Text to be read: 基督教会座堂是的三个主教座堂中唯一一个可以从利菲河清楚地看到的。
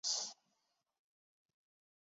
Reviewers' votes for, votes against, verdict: 1, 3, rejected